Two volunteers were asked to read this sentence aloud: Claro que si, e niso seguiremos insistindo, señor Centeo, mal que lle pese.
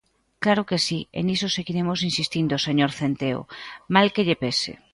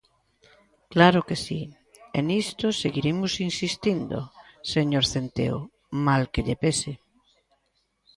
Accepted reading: first